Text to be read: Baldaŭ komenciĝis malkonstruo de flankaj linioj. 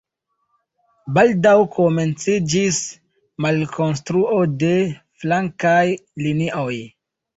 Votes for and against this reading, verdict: 2, 0, accepted